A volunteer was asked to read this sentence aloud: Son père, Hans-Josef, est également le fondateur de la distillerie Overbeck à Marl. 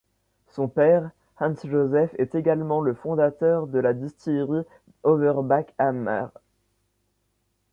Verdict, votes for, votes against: rejected, 0, 2